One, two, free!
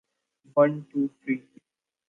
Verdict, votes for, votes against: accepted, 2, 1